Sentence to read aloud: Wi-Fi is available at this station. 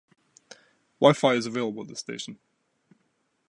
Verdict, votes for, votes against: accepted, 2, 0